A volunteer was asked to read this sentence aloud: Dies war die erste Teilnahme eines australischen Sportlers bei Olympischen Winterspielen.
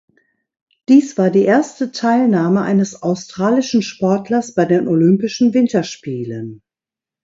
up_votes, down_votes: 0, 2